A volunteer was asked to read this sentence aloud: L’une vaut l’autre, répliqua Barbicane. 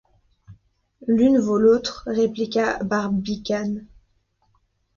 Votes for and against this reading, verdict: 2, 0, accepted